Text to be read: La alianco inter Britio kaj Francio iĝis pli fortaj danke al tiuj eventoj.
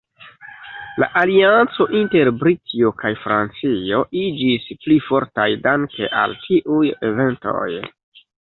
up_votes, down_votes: 0, 2